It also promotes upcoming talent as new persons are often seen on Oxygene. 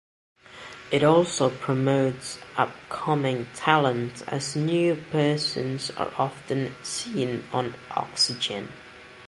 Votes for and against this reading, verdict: 2, 0, accepted